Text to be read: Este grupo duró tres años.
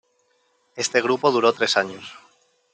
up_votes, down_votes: 2, 0